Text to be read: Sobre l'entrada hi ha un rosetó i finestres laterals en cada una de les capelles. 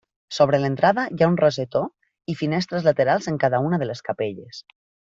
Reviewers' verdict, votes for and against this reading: accepted, 3, 0